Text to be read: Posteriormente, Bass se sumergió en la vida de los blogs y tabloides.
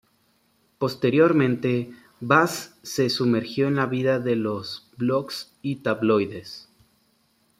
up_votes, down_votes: 2, 0